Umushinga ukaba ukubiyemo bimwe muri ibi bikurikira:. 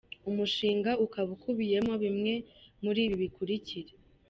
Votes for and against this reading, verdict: 2, 1, accepted